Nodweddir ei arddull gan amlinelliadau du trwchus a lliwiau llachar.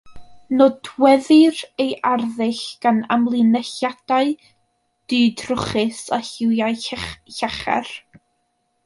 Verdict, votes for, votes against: rejected, 1, 2